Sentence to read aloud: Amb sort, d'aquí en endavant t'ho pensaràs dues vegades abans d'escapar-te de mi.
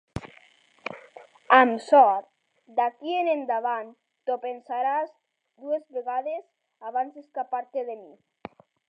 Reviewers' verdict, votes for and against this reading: rejected, 1, 3